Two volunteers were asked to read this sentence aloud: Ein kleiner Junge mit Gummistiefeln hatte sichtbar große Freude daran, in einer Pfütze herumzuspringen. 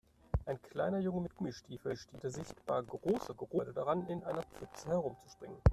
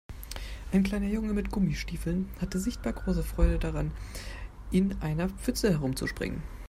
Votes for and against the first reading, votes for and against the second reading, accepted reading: 0, 2, 2, 0, second